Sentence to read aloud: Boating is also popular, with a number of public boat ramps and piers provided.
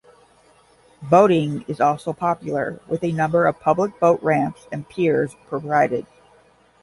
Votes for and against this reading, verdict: 10, 0, accepted